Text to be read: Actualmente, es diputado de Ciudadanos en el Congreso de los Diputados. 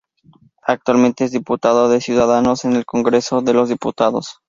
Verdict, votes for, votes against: accepted, 2, 0